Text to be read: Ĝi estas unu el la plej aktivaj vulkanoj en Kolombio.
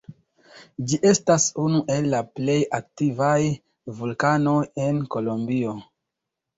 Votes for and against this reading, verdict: 0, 2, rejected